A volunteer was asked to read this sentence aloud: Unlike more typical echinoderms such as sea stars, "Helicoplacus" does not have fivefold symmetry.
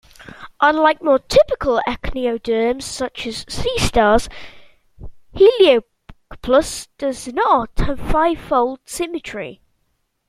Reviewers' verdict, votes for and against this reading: accepted, 2, 1